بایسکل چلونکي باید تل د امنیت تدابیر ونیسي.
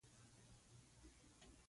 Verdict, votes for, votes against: rejected, 1, 2